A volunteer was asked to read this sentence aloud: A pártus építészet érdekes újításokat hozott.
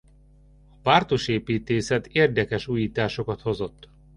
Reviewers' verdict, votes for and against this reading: rejected, 1, 2